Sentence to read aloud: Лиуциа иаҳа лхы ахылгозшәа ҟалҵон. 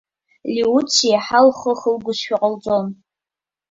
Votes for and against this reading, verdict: 2, 1, accepted